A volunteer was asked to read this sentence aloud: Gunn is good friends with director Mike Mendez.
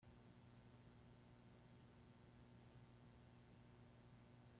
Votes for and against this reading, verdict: 0, 2, rejected